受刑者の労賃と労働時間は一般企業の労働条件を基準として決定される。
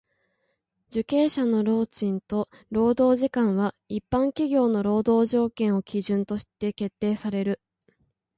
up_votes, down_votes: 1, 2